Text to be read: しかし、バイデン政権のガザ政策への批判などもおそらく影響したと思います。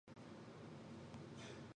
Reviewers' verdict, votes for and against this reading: rejected, 0, 2